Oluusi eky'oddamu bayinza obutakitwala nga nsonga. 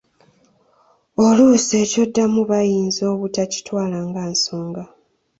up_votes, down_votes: 2, 1